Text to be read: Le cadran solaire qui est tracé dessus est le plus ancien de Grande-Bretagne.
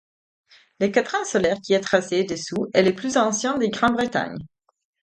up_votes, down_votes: 4, 0